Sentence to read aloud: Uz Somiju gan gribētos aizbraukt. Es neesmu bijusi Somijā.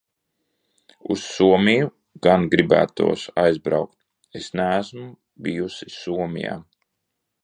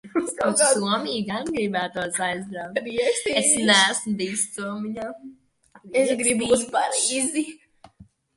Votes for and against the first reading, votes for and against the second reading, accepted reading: 2, 0, 0, 2, first